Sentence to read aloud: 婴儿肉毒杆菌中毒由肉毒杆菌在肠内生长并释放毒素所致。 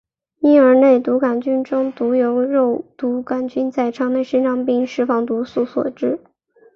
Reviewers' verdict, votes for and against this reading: accepted, 2, 1